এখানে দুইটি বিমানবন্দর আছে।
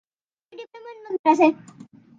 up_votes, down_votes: 0, 2